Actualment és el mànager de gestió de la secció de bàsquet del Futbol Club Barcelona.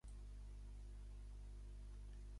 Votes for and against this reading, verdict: 0, 3, rejected